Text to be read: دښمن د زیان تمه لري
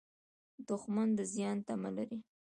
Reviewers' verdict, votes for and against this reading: accepted, 2, 1